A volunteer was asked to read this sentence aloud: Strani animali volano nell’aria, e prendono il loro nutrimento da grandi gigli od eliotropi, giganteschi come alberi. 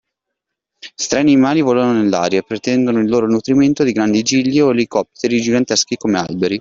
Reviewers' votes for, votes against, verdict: 0, 2, rejected